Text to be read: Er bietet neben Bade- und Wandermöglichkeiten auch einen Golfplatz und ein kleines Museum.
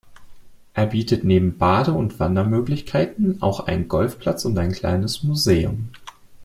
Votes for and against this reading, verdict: 2, 0, accepted